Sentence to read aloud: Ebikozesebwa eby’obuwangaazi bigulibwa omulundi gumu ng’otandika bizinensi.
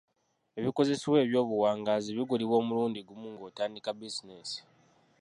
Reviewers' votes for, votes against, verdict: 1, 2, rejected